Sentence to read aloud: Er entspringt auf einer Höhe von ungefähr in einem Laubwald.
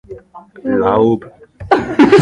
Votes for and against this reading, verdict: 0, 2, rejected